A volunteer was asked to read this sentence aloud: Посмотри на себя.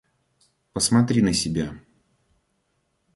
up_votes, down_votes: 2, 0